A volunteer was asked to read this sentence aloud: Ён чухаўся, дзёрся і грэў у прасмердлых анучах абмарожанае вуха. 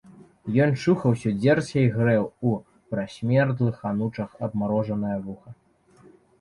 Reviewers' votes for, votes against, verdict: 1, 2, rejected